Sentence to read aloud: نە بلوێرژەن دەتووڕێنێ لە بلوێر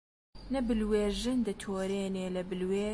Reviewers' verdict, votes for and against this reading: rejected, 0, 2